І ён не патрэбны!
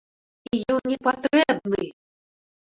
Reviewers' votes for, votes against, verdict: 1, 2, rejected